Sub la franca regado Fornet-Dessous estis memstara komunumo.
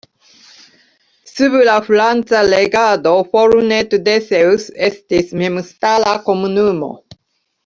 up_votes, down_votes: 0, 2